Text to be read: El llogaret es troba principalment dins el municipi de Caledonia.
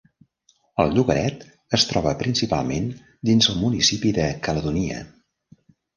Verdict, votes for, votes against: rejected, 1, 2